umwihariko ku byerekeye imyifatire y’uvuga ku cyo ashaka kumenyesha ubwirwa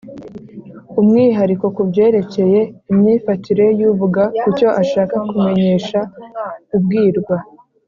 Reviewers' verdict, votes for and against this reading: accepted, 3, 0